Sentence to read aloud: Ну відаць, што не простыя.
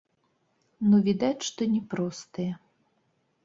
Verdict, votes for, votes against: rejected, 1, 2